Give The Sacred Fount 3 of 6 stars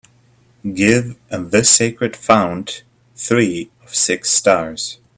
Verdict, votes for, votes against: rejected, 0, 2